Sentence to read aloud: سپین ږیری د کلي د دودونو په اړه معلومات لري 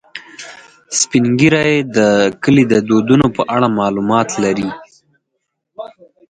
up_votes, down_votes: 2, 4